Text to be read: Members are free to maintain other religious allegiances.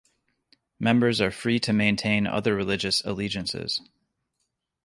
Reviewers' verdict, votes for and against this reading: accepted, 2, 0